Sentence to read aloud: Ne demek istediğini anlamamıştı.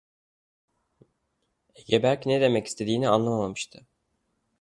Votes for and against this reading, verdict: 0, 2, rejected